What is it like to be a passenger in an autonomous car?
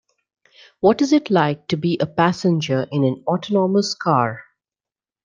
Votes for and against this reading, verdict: 2, 0, accepted